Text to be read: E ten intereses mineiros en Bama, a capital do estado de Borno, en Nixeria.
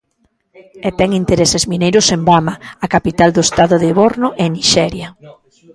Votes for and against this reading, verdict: 1, 2, rejected